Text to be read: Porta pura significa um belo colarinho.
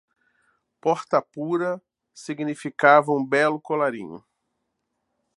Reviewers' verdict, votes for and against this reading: rejected, 1, 2